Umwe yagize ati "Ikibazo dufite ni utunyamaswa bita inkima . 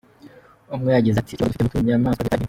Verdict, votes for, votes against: rejected, 1, 2